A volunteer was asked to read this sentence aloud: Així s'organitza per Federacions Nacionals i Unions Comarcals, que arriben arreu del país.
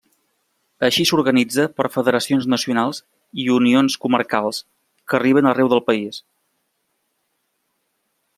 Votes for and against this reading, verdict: 2, 0, accepted